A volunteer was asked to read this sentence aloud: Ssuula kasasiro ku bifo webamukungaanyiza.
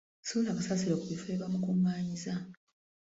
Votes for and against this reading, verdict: 1, 2, rejected